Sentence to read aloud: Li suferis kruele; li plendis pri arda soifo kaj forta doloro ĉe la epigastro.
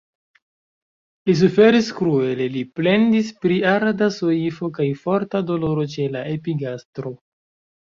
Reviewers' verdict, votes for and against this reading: rejected, 1, 2